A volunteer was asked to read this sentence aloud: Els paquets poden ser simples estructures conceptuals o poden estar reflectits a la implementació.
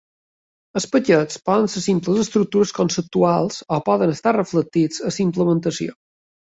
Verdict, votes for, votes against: rejected, 1, 2